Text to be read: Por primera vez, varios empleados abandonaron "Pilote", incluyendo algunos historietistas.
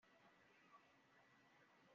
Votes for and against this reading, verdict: 1, 2, rejected